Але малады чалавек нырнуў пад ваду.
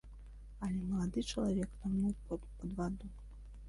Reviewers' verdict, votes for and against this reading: rejected, 0, 2